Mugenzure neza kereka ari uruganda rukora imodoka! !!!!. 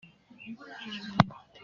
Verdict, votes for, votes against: rejected, 0, 2